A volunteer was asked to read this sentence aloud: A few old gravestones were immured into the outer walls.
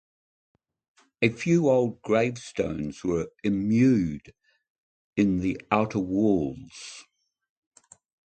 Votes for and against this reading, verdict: 1, 2, rejected